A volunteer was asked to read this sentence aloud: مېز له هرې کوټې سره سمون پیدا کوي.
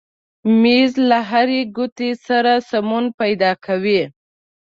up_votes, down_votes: 0, 2